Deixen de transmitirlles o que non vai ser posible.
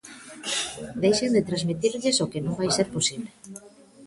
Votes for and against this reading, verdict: 2, 0, accepted